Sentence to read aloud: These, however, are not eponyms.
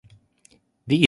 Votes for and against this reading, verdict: 0, 2, rejected